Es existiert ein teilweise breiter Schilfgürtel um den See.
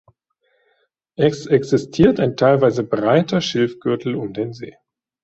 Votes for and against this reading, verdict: 2, 0, accepted